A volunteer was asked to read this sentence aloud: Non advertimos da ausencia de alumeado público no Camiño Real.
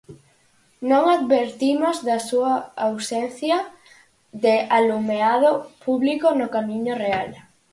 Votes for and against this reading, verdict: 0, 4, rejected